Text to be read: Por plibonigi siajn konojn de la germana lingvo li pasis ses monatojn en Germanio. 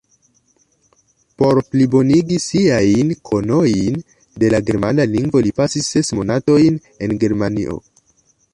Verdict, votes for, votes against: accepted, 2, 1